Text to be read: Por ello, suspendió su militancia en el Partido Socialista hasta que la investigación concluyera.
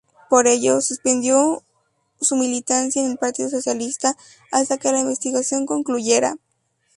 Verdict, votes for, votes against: accepted, 2, 0